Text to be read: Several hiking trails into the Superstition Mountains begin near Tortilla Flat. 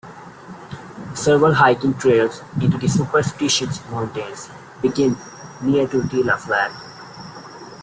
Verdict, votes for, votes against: rejected, 1, 2